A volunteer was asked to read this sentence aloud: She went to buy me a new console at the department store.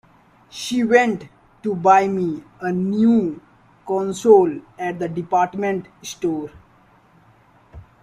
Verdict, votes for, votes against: accepted, 2, 0